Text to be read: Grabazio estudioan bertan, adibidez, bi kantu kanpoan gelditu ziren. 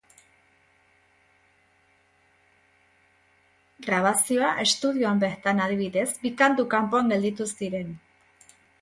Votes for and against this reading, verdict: 0, 3, rejected